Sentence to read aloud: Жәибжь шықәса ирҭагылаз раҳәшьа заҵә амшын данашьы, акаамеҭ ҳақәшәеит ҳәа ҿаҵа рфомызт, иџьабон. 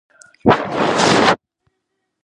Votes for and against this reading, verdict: 0, 2, rejected